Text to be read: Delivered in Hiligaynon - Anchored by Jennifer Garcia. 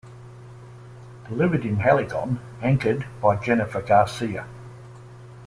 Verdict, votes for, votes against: rejected, 0, 2